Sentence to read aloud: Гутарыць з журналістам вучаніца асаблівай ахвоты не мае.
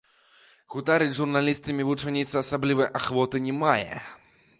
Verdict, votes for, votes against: rejected, 1, 2